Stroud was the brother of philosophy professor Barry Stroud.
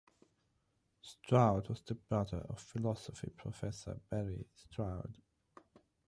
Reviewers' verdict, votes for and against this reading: accepted, 6, 3